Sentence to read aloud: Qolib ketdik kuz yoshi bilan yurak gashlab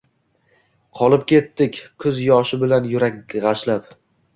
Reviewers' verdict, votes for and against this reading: rejected, 1, 2